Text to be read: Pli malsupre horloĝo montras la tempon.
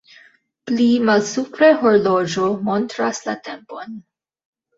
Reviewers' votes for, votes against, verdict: 0, 2, rejected